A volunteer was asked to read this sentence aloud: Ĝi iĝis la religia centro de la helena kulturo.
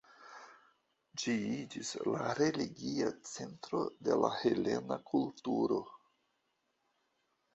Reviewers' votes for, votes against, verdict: 1, 2, rejected